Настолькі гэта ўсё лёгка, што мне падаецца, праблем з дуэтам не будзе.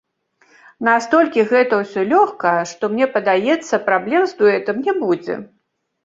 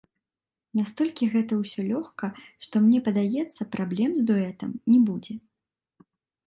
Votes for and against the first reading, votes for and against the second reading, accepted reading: 1, 2, 2, 0, second